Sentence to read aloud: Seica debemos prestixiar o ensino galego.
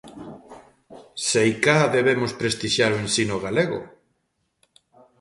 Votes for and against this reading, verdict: 2, 0, accepted